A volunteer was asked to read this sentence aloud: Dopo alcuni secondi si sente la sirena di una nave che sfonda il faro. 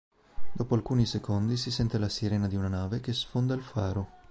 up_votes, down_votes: 2, 0